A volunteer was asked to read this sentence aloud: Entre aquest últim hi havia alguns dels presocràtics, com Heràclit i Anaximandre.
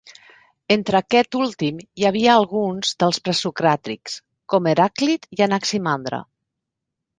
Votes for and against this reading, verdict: 2, 0, accepted